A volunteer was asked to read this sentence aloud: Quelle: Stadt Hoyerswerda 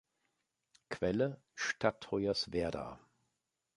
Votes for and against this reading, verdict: 3, 1, accepted